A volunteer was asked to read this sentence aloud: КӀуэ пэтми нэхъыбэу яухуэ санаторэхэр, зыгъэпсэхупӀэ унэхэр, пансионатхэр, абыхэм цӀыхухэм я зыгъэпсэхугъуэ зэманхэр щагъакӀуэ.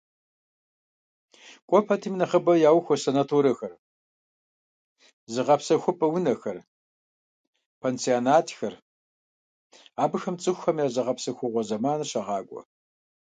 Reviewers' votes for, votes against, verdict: 1, 2, rejected